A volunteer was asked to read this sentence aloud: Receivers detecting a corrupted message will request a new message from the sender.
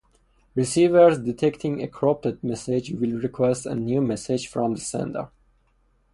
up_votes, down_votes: 4, 0